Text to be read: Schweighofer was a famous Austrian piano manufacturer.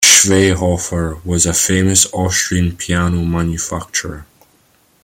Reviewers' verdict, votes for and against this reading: rejected, 0, 2